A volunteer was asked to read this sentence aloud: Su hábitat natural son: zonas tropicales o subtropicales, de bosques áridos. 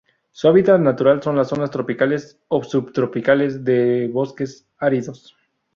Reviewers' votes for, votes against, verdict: 0, 2, rejected